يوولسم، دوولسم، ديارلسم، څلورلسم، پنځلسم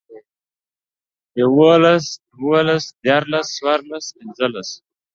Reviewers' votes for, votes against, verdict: 0, 2, rejected